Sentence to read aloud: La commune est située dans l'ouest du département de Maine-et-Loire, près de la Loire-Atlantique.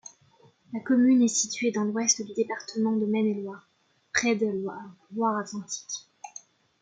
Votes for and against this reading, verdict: 0, 2, rejected